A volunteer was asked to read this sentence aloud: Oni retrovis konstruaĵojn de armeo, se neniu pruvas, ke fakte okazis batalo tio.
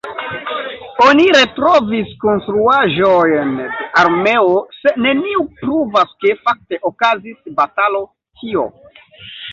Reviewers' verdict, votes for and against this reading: accepted, 2, 1